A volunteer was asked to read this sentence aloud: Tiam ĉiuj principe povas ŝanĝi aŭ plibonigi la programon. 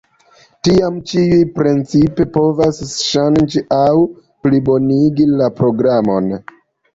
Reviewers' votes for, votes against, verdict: 2, 1, accepted